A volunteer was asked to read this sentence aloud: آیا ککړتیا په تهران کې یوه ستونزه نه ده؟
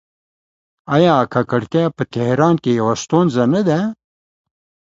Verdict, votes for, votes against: accepted, 2, 0